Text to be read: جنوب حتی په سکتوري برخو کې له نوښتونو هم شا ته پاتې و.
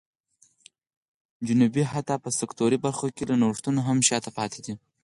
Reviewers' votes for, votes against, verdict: 4, 0, accepted